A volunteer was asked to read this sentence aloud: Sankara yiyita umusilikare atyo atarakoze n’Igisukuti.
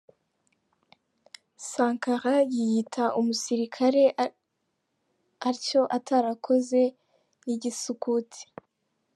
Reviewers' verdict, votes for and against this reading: rejected, 0, 2